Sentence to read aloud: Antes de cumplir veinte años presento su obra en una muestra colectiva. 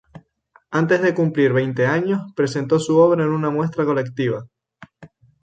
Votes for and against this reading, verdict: 0, 2, rejected